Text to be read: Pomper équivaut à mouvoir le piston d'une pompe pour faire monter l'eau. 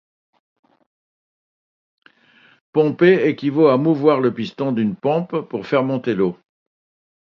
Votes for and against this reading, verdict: 2, 0, accepted